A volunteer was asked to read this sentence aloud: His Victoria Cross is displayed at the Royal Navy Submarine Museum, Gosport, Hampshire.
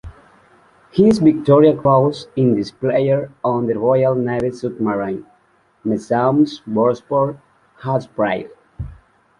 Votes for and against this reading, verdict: 1, 2, rejected